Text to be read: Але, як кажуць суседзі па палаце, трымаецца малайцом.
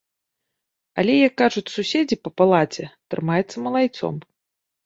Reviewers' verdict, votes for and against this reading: accepted, 2, 0